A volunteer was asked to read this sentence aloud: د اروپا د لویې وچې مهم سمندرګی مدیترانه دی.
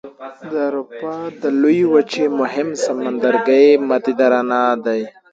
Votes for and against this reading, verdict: 2, 0, accepted